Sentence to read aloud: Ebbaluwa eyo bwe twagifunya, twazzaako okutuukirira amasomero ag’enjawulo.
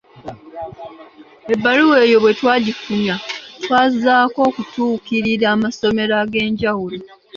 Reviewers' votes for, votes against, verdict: 3, 0, accepted